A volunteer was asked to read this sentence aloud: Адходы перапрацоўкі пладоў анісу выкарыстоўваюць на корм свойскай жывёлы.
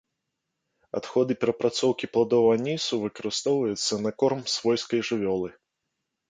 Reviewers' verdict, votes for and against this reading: accepted, 2, 1